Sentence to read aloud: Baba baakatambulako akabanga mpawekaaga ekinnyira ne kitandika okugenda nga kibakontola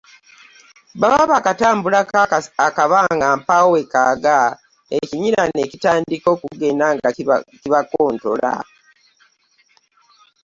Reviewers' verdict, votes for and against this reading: accepted, 2, 0